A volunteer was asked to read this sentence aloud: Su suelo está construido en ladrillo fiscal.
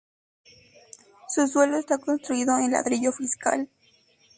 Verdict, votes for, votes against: rejected, 0, 2